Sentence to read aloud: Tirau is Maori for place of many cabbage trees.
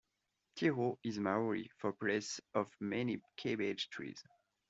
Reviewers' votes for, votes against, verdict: 2, 0, accepted